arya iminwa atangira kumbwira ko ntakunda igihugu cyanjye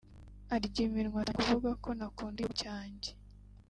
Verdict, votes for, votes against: rejected, 0, 3